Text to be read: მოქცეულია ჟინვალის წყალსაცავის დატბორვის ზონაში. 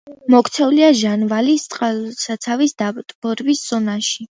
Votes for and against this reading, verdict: 1, 2, rejected